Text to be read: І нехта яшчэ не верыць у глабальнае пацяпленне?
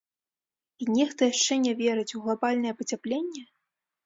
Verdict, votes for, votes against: rejected, 0, 2